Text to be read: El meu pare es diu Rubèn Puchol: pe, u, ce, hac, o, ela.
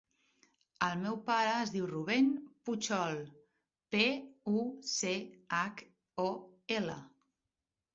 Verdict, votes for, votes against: accepted, 2, 0